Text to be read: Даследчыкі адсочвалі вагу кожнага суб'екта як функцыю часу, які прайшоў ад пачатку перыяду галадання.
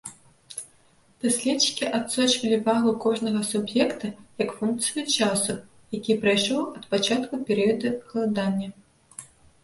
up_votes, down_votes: 1, 2